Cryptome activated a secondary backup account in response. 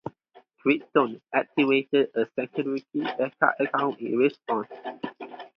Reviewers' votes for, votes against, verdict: 2, 2, rejected